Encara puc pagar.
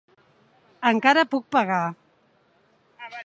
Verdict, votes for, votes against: accepted, 3, 0